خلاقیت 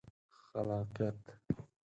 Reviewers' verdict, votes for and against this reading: accepted, 4, 0